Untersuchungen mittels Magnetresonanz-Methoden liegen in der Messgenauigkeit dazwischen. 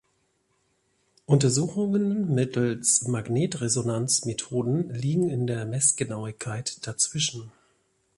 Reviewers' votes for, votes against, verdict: 2, 0, accepted